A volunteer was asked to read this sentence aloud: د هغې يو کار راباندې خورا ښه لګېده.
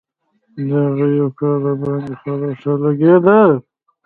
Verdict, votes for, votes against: rejected, 1, 2